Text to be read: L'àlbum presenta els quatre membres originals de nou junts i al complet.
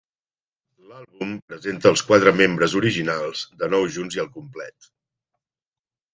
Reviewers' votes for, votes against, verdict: 0, 2, rejected